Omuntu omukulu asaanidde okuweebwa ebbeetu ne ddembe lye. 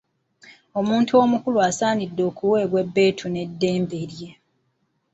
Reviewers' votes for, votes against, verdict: 2, 0, accepted